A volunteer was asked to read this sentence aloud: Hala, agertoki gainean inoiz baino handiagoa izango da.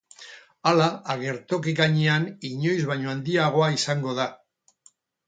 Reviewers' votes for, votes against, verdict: 8, 0, accepted